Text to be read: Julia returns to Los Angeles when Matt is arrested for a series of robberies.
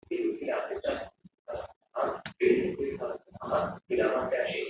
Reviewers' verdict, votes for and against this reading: rejected, 0, 2